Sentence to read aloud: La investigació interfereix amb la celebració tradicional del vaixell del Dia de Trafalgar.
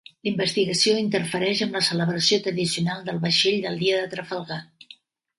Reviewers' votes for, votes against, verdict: 0, 2, rejected